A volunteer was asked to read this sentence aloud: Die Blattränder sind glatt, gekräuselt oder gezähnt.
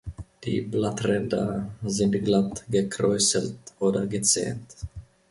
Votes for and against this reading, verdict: 2, 0, accepted